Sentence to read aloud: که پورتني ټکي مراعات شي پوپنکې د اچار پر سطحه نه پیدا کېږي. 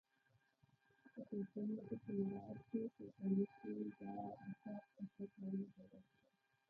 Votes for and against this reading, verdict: 1, 2, rejected